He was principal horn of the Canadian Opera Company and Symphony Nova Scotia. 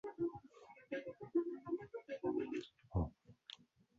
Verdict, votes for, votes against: rejected, 0, 2